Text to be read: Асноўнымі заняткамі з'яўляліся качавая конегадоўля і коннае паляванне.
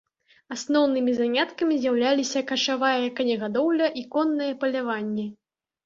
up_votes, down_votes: 2, 1